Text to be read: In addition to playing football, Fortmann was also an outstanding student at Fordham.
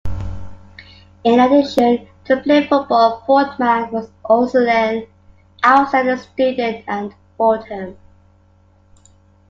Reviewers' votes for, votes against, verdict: 2, 1, accepted